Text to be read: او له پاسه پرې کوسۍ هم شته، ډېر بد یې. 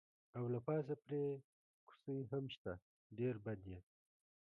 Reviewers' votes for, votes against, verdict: 0, 2, rejected